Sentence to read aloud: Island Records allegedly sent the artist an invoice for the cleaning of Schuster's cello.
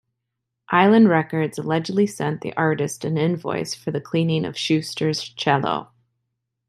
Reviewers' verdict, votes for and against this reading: accepted, 2, 0